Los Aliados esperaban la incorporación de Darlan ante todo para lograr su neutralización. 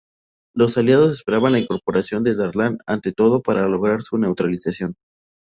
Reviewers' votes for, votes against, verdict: 2, 0, accepted